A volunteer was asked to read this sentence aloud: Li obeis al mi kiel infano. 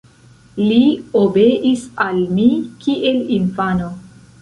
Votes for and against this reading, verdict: 2, 1, accepted